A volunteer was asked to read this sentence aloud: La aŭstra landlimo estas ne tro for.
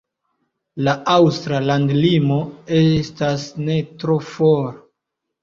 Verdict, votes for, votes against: accepted, 2, 0